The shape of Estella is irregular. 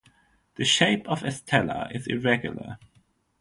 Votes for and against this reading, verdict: 3, 0, accepted